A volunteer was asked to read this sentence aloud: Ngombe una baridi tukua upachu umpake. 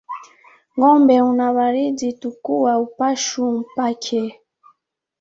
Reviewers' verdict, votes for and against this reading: rejected, 0, 2